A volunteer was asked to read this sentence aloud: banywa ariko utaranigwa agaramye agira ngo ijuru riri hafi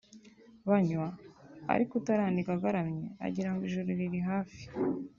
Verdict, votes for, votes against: accepted, 2, 0